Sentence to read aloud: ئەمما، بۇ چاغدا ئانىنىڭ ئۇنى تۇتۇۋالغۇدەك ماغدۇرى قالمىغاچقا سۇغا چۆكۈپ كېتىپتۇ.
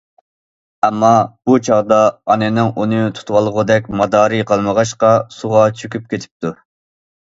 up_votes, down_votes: 1, 2